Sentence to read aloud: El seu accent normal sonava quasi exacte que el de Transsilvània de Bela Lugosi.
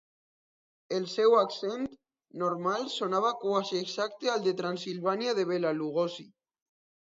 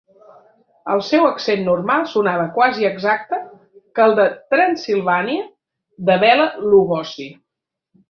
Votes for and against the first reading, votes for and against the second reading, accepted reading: 1, 2, 2, 1, second